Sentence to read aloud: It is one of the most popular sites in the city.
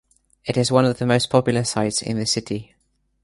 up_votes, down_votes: 2, 0